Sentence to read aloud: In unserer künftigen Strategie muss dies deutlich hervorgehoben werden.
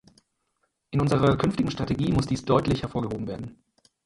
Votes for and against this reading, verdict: 2, 4, rejected